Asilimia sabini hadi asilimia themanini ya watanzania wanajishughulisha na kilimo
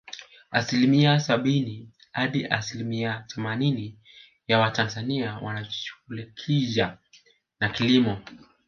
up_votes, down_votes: 0, 2